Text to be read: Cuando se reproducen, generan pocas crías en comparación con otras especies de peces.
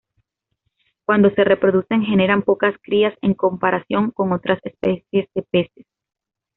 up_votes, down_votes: 2, 0